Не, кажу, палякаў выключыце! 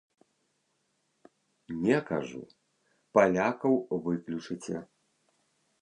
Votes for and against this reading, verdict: 2, 0, accepted